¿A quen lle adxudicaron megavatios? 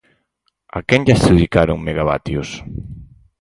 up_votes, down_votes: 6, 2